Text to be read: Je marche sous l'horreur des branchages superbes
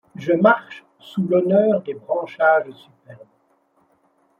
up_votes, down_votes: 0, 2